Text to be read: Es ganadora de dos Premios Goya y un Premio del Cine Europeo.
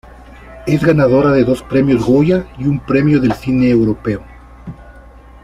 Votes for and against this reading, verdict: 2, 0, accepted